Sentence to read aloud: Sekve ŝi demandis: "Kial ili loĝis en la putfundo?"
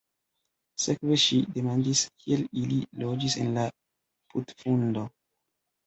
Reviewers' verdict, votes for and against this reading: rejected, 0, 3